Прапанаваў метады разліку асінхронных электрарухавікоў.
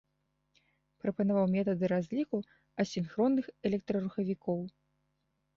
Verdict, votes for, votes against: accepted, 2, 0